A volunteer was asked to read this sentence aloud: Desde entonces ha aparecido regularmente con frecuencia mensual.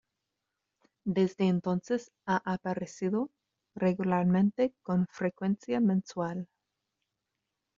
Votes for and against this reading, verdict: 2, 1, accepted